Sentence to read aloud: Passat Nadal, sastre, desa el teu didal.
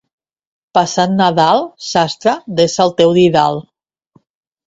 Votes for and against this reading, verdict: 2, 0, accepted